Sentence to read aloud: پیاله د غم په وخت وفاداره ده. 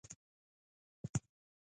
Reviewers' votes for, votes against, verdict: 0, 2, rejected